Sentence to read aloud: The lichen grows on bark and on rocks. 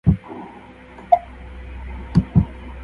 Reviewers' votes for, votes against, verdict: 0, 2, rejected